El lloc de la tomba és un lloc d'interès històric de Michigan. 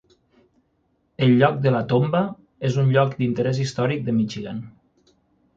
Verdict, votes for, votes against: accepted, 9, 0